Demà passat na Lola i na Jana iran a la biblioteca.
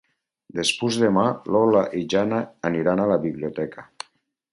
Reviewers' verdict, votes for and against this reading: rejected, 2, 4